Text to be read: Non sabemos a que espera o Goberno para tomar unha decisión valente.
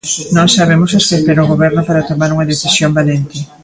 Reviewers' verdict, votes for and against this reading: rejected, 0, 2